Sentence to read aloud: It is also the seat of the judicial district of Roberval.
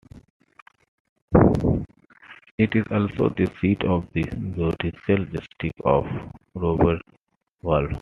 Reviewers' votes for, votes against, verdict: 2, 0, accepted